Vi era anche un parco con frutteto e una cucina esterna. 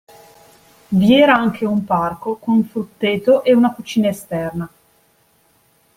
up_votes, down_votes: 2, 0